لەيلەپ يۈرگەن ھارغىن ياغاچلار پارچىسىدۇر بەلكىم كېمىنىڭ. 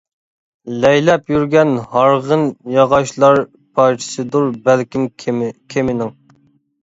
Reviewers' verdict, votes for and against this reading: rejected, 0, 2